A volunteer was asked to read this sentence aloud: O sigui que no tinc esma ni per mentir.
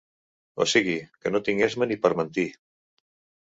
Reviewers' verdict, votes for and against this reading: accepted, 2, 0